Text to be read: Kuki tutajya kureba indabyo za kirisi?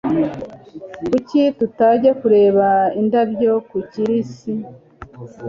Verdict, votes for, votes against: accepted, 2, 0